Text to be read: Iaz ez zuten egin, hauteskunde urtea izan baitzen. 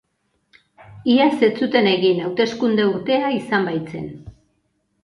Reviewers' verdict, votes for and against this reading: accepted, 2, 0